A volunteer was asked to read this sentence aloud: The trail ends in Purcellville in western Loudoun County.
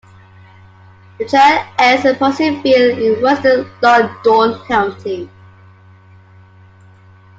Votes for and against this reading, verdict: 2, 1, accepted